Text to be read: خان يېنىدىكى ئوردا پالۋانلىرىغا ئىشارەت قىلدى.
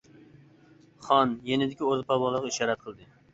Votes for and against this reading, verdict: 0, 2, rejected